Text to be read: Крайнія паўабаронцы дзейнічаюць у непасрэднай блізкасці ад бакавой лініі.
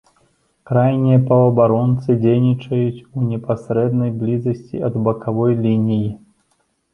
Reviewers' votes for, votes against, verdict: 0, 2, rejected